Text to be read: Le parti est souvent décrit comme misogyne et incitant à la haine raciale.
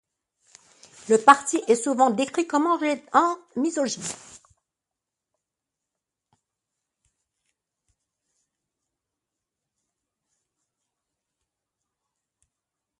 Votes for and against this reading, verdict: 0, 2, rejected